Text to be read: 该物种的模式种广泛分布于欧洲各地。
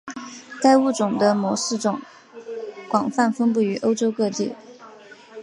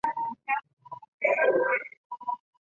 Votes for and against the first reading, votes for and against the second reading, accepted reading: 4, 0, 0, 3, first